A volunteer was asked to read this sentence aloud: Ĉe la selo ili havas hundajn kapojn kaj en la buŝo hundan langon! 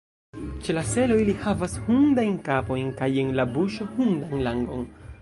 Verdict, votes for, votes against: rejected, 1, 2